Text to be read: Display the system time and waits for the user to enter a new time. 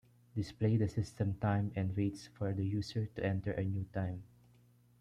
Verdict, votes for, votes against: accepted, 2, 0